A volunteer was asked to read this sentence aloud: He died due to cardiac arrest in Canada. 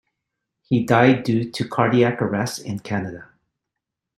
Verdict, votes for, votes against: accepted, 2, 0